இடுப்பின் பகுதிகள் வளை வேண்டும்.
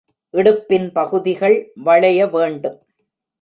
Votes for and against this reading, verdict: 0, 2, rejected